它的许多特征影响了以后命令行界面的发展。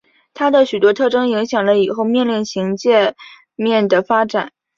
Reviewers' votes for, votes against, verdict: 2, 0, accepted